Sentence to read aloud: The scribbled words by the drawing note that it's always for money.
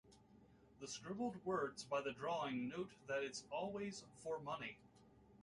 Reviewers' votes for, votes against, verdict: 1, 2, rejected